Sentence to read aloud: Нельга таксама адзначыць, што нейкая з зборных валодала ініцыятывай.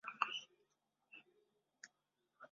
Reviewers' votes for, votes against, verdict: 1, 2, rejected